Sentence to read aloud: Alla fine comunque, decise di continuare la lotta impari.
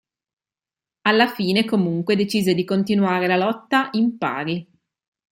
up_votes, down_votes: 2, 0